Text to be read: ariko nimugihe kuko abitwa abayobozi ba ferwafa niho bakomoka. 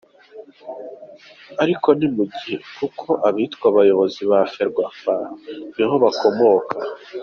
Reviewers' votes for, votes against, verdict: 2, 0, accepted